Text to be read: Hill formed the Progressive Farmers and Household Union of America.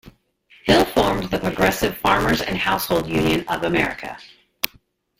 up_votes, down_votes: 1, 2